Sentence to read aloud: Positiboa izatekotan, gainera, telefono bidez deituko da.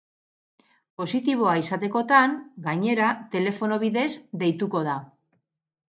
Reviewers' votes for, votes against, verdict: 0, 2, rejected